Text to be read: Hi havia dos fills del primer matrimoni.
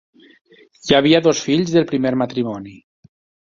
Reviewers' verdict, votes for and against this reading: accepted, 8, 0